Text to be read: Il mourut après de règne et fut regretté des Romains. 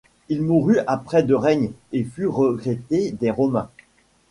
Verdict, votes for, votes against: rejected, 1, 2